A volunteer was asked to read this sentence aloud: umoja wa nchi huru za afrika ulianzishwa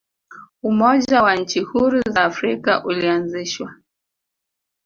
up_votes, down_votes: 2, 0